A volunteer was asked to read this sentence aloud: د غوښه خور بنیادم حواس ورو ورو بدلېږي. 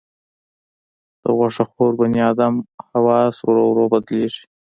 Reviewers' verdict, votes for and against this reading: accepted, 3, 0